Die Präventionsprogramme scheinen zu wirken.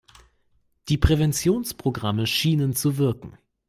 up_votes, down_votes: 0, 3